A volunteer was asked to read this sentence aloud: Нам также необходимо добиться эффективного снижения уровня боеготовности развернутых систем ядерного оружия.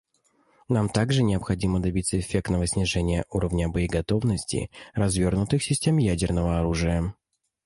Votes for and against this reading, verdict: 0, 2, rejected